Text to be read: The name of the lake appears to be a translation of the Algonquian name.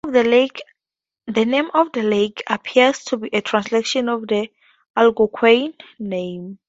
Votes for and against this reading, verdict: 2, 0, accepted